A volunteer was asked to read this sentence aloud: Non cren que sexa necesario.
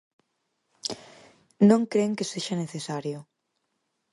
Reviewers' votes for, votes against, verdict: 4, 0, accepted